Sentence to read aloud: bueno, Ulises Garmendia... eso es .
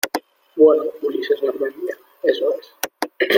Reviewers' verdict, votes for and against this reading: accepted, 2, 0